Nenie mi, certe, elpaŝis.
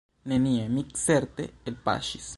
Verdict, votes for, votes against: accepted, 2, 0